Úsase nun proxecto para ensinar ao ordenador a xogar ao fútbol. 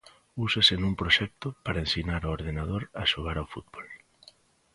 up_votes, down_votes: 2, 0